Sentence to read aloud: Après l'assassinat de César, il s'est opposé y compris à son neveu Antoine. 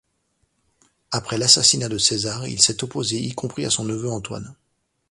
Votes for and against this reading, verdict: 2, 0, accepted